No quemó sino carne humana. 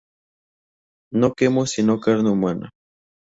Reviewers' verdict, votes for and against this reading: rejected, 0, 2